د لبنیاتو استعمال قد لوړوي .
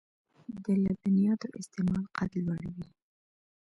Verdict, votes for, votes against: accepted, 2, 0